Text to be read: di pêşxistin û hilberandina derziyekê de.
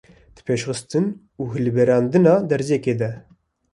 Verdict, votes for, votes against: accepted, 2, 0